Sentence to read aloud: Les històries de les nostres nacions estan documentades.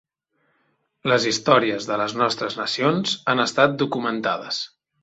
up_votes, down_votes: 1, 3